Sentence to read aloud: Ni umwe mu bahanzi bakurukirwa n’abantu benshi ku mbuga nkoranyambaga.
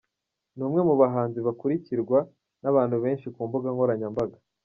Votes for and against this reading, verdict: 2, 0, accepted